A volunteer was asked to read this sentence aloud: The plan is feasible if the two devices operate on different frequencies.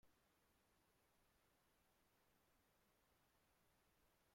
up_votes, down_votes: 0, 2